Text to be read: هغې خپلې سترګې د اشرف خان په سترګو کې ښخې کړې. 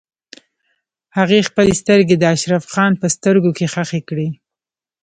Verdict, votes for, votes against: rejected, 1, 2